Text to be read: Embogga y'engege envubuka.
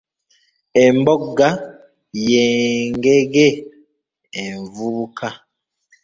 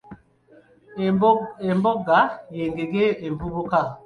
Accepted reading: second